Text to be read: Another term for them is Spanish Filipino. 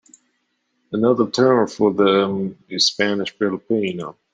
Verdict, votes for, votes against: accepted, 2, 0